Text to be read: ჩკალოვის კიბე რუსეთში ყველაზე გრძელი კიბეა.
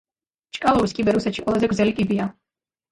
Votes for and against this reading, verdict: 1, 2, rejected